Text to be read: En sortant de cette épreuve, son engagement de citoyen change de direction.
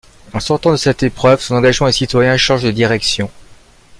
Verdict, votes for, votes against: rejected, 1, 2